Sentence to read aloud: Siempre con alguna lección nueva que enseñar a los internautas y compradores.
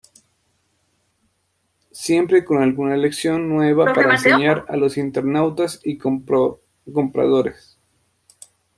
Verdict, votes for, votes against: rejected, 0, 2